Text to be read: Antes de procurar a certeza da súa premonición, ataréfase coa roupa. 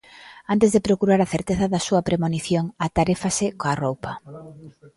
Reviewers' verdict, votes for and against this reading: rejected, 0, 2